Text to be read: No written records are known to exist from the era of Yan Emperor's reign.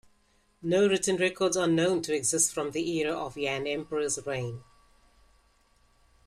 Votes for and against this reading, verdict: 2, 1, accepted